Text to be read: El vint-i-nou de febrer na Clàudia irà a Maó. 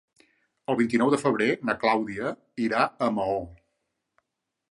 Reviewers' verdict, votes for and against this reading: accepted, 3, 0